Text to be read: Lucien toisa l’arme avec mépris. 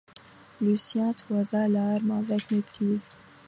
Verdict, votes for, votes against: rejected, 0, 2